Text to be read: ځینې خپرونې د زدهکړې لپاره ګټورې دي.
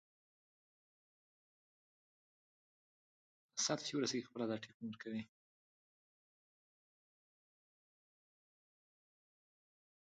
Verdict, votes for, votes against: rejected, 0, 2